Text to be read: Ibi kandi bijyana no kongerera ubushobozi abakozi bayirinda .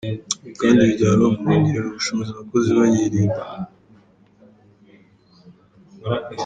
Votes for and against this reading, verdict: 1, 2, rejected